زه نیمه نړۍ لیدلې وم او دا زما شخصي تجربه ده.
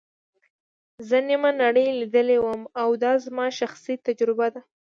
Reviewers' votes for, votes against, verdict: 2, 0, accepted